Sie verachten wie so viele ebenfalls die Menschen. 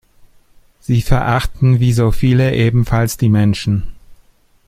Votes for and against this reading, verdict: 2, 0, accepted